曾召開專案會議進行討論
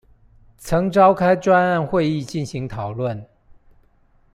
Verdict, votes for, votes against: accepted, 2, 0